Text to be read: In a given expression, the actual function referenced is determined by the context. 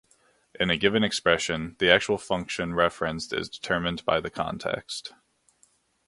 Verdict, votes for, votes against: accepted, 2, 0